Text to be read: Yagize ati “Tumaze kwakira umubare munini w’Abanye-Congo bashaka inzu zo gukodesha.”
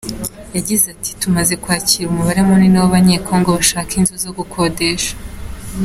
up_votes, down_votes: 2, 0